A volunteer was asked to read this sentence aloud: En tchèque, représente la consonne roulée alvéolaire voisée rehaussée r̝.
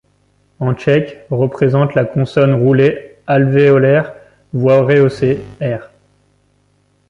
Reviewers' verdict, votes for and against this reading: rejected, 0, 2